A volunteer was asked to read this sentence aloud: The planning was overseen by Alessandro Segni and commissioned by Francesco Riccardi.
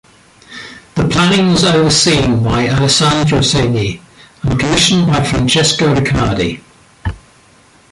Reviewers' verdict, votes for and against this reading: accepted, 2, 0